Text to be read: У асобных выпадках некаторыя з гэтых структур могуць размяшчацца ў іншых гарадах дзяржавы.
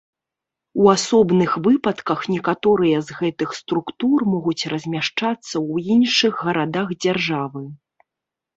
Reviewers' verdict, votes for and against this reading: accepted, 3, 0